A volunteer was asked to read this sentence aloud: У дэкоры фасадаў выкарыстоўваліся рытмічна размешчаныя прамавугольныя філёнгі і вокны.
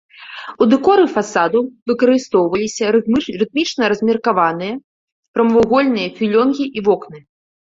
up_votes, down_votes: 1, 2